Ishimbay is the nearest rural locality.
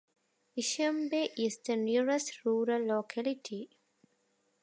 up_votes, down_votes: 2, 0